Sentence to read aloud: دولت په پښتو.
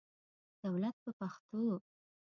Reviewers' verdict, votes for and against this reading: accepted, 2, 0